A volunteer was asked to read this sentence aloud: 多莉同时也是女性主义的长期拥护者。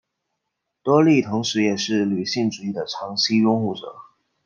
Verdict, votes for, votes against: accepted, 2, 0